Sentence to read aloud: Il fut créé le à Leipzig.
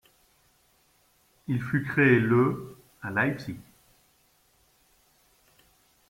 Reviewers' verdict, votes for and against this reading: rejected, 1, 2